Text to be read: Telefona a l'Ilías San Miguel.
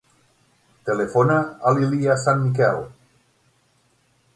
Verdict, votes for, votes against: rejected, 0, 6